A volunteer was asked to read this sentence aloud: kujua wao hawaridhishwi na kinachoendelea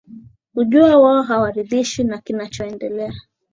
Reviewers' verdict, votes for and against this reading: accepted, 3, 0